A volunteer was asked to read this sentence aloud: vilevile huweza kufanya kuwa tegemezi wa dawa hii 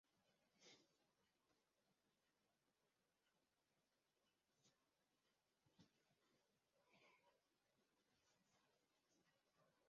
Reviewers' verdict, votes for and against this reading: rejected, 0, 2